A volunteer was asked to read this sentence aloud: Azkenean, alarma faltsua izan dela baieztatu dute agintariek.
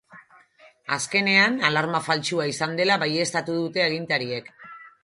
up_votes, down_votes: 4, 0